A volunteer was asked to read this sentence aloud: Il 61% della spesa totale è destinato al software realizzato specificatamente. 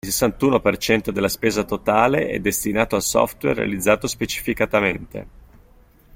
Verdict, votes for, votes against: rejected, 0, 2